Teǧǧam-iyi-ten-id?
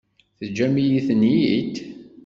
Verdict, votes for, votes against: accepted, 2, 0